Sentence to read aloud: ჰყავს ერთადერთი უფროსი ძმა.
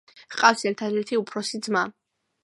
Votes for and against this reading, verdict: 2, 0, accepted